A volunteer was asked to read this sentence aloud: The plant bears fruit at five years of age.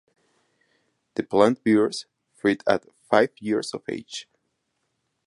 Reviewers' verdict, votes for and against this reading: rejected, 2, 2